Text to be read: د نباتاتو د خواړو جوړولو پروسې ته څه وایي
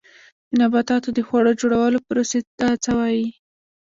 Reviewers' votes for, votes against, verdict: 0, 2, rejected